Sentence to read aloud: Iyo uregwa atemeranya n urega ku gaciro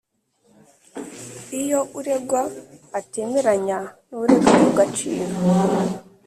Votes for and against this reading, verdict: 2, 0, accepted